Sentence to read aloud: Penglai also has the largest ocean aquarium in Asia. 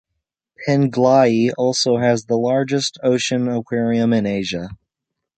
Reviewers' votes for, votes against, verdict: 2, 0, accepted